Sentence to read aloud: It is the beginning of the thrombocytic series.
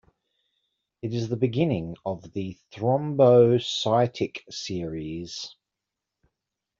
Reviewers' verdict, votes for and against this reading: accepted, 2, 0